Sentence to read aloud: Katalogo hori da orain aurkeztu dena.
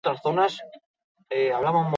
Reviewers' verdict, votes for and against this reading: rejected, 0, 2